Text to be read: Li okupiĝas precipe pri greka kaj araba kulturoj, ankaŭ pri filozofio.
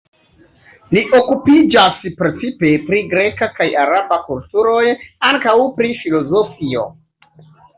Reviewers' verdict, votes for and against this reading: rejected, 0, 2